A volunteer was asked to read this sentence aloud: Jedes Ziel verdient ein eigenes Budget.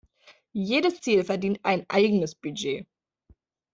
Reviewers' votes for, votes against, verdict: 2, 0, accepted